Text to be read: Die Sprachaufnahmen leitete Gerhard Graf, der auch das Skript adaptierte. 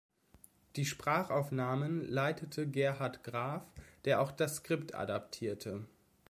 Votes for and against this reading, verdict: 2, 0, accepted